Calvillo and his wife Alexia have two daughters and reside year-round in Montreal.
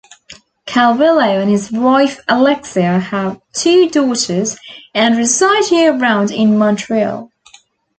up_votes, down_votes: 2, 0